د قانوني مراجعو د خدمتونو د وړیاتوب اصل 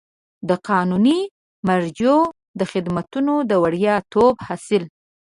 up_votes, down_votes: 2, 3